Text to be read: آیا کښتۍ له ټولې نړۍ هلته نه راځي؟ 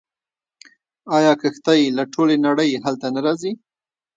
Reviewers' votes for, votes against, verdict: 0, 2, rejected